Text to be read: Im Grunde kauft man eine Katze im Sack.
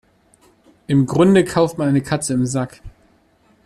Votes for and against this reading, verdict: 2, 0, accepted